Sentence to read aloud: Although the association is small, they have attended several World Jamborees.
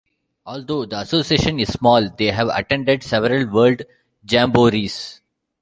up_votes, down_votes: 2, 0